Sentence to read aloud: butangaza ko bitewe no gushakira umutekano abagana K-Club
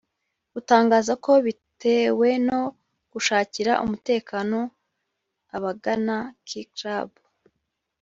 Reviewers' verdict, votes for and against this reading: rejected, 0, 2